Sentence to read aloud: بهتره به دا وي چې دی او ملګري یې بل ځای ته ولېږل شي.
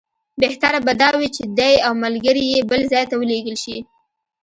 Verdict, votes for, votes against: accepted, 2, 1